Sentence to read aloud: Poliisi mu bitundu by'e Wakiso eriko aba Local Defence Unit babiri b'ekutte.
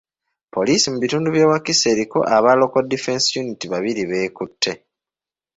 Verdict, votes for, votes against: accepted, 2, 0